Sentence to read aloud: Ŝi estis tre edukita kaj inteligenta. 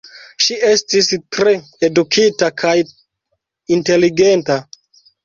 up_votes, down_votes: 0, 2